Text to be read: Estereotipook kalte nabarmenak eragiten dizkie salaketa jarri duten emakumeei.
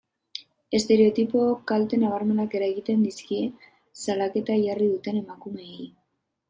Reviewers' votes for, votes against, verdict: 2, 1, accepted